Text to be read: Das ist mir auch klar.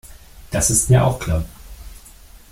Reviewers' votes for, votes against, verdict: 2, 1, accepted